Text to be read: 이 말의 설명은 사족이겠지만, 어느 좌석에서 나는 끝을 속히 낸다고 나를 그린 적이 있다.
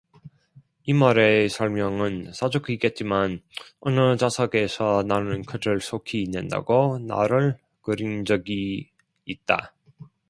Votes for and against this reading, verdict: 0, 2, rejected